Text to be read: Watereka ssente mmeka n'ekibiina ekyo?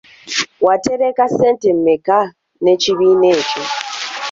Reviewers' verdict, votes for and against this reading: accepted, 2, 1